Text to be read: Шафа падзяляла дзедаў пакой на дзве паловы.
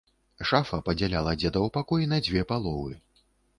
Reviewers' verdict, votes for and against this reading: accepted, 2, 0